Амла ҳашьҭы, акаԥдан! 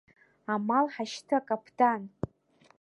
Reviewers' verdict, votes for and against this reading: rejected, 0, 2